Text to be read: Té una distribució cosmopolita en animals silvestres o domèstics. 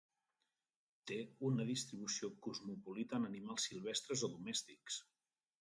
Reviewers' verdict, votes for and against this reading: accepted, 2, 0